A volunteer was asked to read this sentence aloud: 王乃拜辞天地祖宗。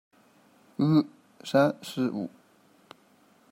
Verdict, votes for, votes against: rejected, 0, 2